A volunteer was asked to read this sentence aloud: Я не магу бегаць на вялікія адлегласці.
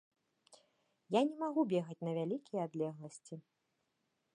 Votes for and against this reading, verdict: 2, 0, accepted